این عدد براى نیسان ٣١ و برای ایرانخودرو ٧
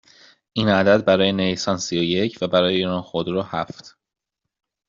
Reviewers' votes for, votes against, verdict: 0, 2, rejected